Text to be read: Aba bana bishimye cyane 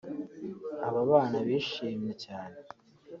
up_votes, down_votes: 0, 2